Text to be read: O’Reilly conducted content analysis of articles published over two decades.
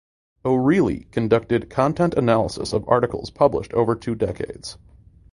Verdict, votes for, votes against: rejected, 1, 2